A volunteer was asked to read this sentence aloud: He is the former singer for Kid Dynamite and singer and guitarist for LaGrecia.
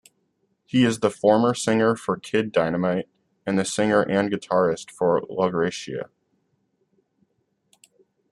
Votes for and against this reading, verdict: 2, 1, accepted